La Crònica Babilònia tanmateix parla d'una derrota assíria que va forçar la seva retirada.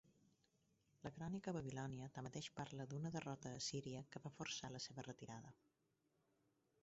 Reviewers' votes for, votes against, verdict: 0, 4, rejected